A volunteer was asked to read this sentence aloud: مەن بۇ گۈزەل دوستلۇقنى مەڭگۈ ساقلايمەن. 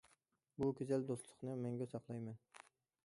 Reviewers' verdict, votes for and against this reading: rejected, 1, 2